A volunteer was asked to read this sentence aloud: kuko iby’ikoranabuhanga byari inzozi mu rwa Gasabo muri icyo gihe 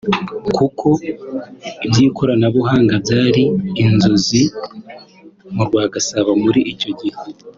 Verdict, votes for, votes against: accepted, 5, 1